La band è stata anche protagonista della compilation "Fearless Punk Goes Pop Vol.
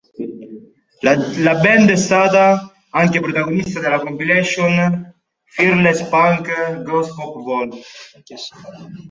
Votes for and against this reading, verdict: 1, 2, rejected